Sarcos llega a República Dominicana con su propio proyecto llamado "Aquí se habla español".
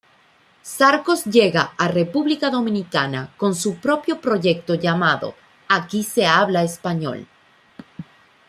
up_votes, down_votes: 2, 0